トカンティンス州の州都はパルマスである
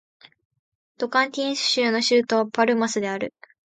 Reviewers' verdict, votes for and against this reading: accepted, 2, 0